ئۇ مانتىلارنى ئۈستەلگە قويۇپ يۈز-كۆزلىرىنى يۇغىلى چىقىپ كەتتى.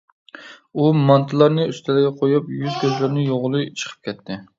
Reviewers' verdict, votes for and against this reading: accepted, 2, 0